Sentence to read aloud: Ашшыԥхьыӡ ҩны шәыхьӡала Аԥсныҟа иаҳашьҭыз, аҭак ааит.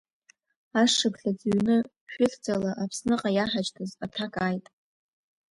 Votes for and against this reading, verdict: 1, 2, rejected